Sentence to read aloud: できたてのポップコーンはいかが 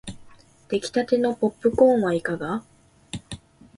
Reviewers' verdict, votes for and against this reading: accepted, 2, 0